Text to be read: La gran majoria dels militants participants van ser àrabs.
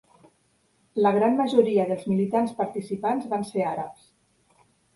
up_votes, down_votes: 5, 0